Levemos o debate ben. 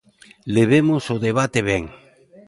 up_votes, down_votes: 2, 0